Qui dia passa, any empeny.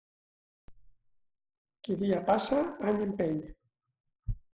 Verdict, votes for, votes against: rejected, 0, 2